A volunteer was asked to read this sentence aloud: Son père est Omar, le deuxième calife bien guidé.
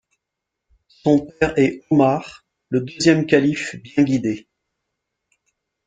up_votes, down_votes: 0, 2